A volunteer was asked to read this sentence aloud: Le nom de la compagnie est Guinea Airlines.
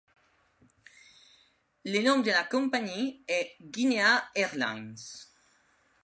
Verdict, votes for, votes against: accepted, 2, 0